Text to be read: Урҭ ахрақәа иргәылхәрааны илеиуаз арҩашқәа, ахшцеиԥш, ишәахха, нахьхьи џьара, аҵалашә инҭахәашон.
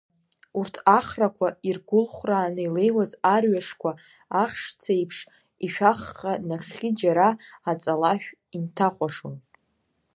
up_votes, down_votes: 1, 2